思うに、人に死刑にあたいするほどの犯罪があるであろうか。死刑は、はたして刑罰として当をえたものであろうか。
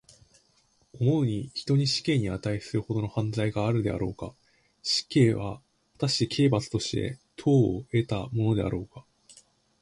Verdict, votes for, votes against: rejected, 2, 3